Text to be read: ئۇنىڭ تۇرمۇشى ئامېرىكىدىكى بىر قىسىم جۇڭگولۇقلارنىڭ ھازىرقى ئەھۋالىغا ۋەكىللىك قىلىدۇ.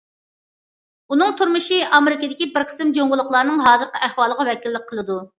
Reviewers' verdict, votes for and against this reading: accepted, 2, 0